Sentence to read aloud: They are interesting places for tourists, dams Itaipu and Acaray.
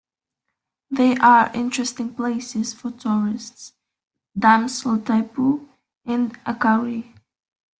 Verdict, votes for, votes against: accepted, 2, 0